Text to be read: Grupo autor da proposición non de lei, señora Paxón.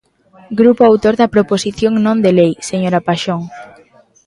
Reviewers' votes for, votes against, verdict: 0, 2, rejected